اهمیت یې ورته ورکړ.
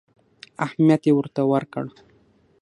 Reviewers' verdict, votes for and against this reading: accepted, 6, 0